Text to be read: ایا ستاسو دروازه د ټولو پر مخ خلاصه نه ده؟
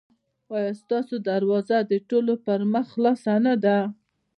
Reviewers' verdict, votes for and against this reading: accepted, 2, 1